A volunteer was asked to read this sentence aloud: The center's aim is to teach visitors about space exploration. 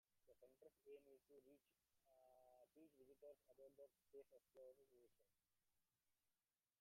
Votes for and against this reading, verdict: 0, 2, rejected